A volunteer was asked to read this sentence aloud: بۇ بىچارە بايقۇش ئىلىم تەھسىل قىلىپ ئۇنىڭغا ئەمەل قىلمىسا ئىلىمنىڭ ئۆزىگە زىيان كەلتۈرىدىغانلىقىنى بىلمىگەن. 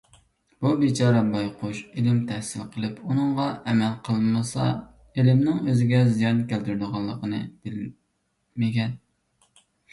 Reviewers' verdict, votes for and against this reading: rejected, 1, 2